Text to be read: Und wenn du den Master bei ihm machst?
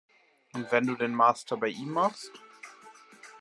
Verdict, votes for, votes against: accepted, 2, 0